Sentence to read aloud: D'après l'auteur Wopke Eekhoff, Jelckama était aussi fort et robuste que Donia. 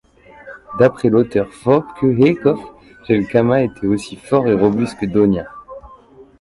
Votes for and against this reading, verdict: 2, 1, accepted